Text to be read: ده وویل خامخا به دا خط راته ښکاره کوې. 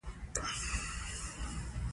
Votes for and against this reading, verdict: 2, 1, accepted